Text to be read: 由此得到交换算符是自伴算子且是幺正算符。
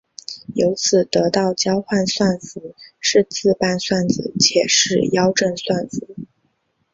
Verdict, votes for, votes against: rejected, 2, 3